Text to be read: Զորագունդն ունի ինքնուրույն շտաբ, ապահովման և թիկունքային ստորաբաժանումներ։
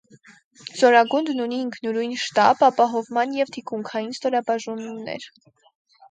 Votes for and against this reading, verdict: 2, 4, rejected